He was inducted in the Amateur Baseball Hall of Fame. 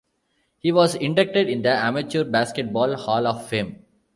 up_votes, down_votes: 0, 2